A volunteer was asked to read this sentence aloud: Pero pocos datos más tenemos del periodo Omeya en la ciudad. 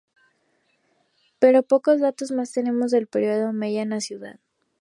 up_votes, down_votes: 2, 0